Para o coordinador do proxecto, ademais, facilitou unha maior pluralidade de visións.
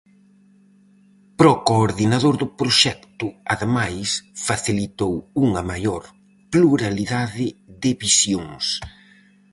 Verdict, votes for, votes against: rejected, 2, 2